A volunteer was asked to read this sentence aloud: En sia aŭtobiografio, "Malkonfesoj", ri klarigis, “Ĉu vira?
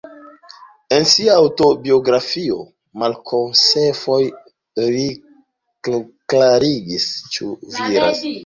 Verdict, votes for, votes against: rejected, 1, 3